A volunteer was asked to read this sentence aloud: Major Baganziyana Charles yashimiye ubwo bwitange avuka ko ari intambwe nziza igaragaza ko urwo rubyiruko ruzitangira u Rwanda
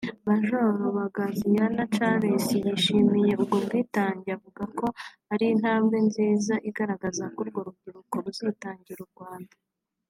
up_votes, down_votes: 3, 0